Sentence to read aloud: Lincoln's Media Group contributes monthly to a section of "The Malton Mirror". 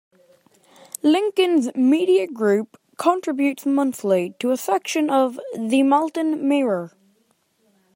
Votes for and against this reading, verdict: 2, 0, accepted